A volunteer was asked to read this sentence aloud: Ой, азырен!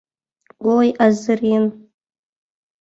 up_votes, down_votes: 2, 0